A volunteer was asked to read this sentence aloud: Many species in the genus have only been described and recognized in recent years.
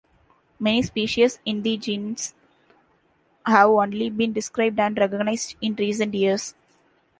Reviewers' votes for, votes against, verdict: 1, 2, rejected